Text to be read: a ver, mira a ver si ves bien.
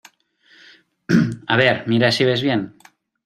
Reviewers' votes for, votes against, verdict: 1, 2, rejected